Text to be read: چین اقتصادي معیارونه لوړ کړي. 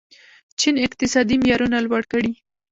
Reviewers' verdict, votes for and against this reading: accepted, 2, 1